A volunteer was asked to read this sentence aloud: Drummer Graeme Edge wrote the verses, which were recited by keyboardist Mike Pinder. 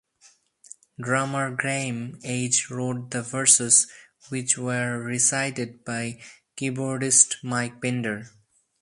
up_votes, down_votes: 2, 0